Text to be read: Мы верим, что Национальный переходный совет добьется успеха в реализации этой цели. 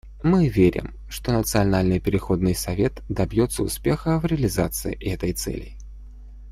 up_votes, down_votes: 2, 0